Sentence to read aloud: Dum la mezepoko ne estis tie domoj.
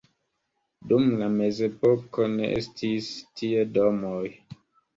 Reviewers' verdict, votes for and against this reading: accepted, 2, 0